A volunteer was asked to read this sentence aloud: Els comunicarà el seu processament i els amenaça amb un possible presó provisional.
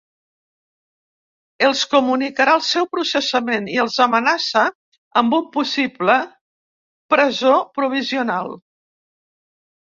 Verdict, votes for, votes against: accepted, 3, 0